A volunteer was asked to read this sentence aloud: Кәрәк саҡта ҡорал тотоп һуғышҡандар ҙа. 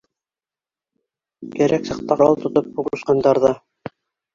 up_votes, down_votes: 0, 2